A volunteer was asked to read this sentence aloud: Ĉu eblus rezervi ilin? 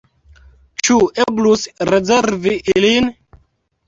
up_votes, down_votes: 0, 2